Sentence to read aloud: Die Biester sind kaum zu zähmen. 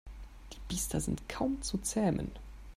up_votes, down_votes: 2, 0